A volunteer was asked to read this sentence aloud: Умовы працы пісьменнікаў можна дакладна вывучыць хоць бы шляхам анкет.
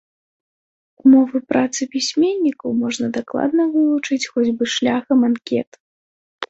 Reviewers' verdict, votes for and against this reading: accepted, 2, 0